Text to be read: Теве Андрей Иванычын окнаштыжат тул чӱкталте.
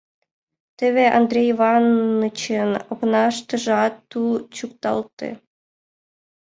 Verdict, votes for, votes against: rejected, 2, 6